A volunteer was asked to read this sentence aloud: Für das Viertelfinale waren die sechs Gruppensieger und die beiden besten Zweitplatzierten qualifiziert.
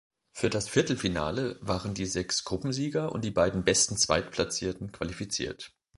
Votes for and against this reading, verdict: 2, 0, accepted